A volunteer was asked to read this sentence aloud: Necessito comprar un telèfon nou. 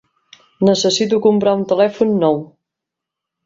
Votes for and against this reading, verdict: 4, 0, accepted